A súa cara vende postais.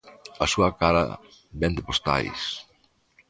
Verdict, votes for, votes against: accepted, 2, 0